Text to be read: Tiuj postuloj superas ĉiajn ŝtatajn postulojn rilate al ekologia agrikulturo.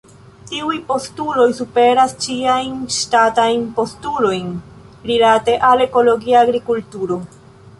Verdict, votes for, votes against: accepted, 2, 0